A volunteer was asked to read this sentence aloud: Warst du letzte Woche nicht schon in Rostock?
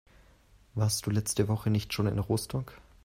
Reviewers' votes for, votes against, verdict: 2, 1, accepted